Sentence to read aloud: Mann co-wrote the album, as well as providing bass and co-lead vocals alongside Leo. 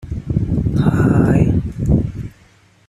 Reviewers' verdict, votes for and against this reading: rejected, 0, 2